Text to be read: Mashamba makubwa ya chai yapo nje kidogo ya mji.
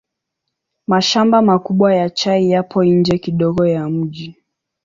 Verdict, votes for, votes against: accepted, 4, 0